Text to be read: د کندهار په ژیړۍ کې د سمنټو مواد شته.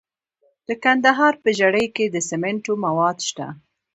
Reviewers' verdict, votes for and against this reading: accepted, 2, 0